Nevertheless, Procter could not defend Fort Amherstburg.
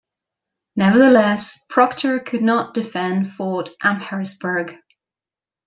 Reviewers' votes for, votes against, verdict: 2, 0, accepted